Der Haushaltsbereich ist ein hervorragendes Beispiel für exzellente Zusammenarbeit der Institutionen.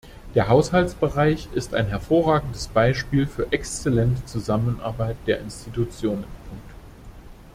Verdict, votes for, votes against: rejected, 1, 2